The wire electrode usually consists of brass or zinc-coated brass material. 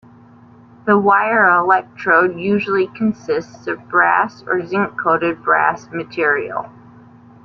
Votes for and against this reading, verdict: 2, 0, accepted